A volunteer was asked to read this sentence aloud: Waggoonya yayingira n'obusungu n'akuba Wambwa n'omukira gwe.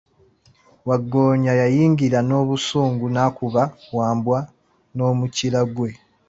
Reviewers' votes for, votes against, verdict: 2, 0, accepted